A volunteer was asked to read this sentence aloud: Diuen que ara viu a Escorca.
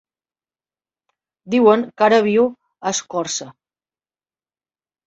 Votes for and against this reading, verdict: 0, 2, rejected